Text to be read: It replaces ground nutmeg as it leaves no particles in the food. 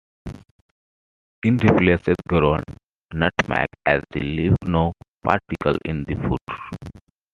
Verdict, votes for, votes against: rejected, 0, 2